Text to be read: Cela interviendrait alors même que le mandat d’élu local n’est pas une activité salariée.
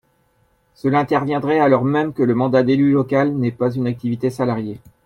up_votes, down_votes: 2, 0